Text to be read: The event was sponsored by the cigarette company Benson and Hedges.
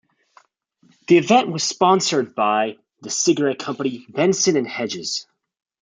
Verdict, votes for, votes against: accepted, 2, 0